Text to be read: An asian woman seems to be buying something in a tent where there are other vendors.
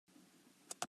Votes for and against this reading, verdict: 0, 2, rejected